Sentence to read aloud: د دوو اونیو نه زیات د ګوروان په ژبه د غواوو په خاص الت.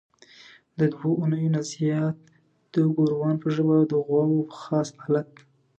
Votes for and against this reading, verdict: 2, 0, accepted